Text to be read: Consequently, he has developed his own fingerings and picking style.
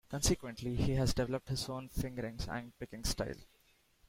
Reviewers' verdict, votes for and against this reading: accepted, 2, 0